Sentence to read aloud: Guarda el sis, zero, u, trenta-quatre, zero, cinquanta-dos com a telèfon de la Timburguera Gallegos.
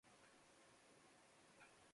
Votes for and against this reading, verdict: 1, 2, rejected